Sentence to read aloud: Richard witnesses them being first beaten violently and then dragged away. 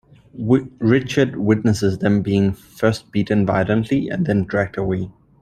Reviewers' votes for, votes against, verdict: 1, 2, rejected